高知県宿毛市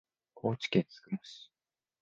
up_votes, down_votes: 0, 3